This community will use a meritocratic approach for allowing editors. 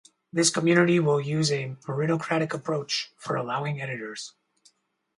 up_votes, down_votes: 2, 4